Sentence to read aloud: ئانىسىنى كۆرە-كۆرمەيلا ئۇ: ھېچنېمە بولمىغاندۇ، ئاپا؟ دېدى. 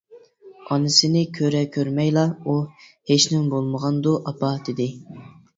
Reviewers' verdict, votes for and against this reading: accepted, 2, 0